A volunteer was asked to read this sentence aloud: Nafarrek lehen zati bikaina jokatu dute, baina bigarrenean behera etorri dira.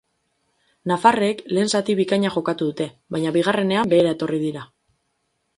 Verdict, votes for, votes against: rejected, 0, 2